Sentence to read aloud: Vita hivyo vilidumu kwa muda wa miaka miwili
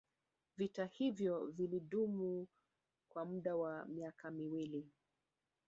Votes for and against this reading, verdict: 2, 0, accepted